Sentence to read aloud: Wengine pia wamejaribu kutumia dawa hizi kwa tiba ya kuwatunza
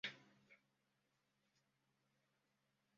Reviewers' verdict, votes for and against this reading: rejected, 0, 2